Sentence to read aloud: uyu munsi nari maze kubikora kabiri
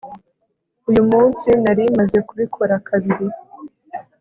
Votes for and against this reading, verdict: 2, 0, accepted